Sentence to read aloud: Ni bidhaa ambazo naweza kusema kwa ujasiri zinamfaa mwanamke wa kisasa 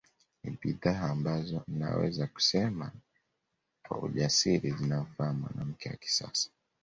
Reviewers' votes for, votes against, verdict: 2, 0, accepted